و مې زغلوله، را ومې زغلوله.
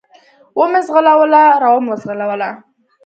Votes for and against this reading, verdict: 2, 0, accepted